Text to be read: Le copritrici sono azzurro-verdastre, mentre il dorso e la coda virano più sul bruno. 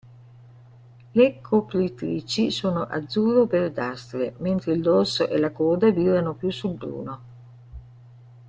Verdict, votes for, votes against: rejected, 1, 2